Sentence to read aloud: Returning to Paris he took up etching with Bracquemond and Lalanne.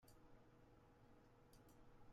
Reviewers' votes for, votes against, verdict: 0, 2, rejected